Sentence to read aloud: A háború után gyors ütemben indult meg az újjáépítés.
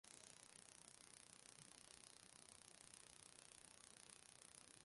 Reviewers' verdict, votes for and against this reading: rejected, 0, 2